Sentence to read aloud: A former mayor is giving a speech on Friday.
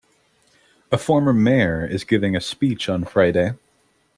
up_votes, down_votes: 2, 0